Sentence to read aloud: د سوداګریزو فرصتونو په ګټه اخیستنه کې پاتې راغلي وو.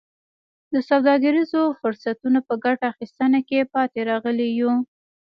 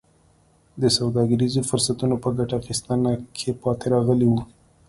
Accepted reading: second